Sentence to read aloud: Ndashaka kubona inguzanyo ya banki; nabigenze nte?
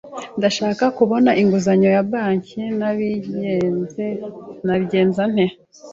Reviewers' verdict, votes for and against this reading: rejected, 0, 2